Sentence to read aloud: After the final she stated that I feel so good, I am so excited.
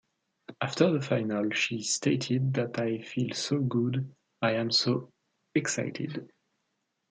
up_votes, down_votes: 2, 0